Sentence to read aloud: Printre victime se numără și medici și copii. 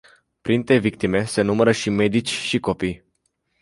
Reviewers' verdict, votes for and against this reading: accepted, 2, 0